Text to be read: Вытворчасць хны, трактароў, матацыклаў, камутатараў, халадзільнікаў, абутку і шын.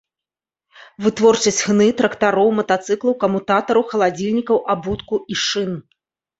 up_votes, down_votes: 2, 0